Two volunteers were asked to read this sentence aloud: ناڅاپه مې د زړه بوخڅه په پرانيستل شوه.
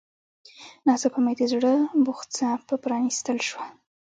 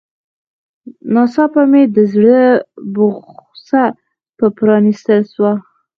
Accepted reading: first